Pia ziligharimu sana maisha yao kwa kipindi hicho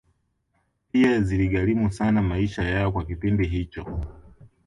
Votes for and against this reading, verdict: 2, 0, accepted